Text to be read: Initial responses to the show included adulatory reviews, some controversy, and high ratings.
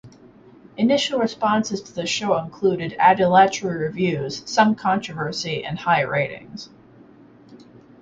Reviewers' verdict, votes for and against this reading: rejected, 2, 2